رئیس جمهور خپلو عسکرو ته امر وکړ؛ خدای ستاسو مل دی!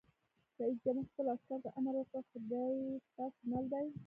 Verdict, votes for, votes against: rejected, 0, 2